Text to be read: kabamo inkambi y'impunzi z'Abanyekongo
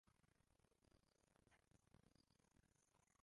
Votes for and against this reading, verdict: 0, 2, rejected